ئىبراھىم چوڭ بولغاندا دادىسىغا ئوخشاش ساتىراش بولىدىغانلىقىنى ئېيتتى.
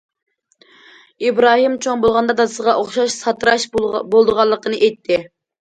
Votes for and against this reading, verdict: 2, 1, accepted